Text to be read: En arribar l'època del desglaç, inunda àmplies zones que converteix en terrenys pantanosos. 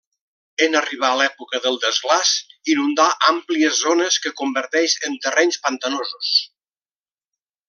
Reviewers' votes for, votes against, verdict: 1, 4, rejected